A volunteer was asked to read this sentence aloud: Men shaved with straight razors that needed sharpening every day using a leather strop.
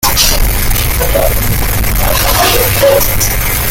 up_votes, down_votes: 0, 2